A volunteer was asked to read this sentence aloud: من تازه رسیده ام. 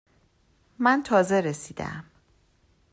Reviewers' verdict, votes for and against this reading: accepted, 2, 0